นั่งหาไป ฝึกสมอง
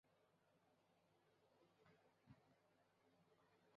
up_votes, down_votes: 0, 2